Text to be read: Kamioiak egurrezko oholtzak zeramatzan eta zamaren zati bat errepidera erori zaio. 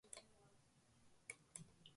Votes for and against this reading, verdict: 0, 2, rejected